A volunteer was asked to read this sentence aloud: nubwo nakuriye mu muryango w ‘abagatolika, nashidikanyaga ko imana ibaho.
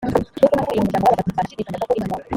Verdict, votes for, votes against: rejected, 0, 3